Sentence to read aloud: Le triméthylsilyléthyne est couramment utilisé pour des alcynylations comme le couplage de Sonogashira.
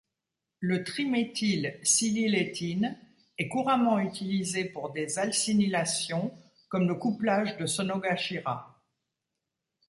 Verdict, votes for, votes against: rejected, 1, 2